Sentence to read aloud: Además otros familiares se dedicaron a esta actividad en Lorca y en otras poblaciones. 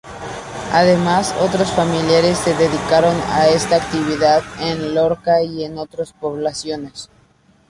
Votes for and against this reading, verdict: 0, 2, rejected